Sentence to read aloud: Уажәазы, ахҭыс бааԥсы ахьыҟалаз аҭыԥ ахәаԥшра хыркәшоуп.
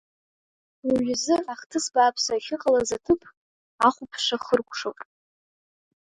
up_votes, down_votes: 2, 0